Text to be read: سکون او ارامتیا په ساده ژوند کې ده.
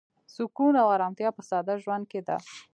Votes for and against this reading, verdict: 2, 0, accepted